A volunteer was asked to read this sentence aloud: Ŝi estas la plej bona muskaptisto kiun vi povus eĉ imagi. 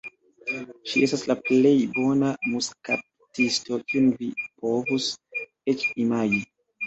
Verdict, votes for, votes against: rejected, 0, 2